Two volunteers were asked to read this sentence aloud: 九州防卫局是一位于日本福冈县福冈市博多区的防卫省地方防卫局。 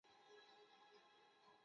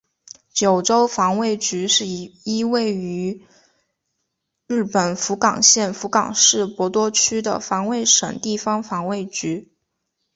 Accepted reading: second